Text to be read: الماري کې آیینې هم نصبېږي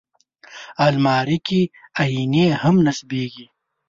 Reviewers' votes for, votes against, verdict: 2, 0, accepted